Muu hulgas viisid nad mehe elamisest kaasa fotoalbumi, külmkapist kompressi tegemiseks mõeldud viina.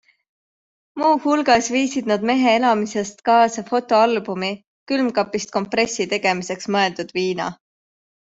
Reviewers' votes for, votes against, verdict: 2, 0, accepted